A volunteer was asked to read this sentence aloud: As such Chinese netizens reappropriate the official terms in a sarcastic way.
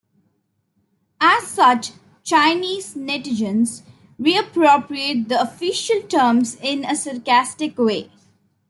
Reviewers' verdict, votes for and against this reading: accepted, 2, 0